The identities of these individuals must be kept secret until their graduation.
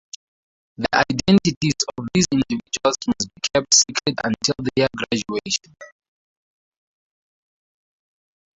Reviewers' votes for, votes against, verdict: 0, 2, rejected